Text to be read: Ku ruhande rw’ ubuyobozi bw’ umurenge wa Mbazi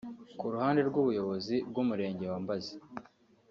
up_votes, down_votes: 2, 0